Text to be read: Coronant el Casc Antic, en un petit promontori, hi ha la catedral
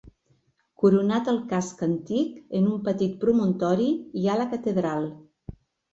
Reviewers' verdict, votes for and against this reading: rejected, 1, 2